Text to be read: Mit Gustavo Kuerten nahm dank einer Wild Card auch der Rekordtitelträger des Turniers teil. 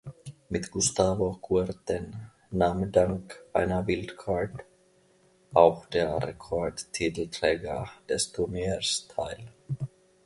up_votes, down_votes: 0, 2